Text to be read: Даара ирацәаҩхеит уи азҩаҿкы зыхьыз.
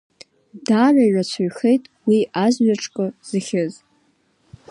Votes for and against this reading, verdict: 3, 0, accepted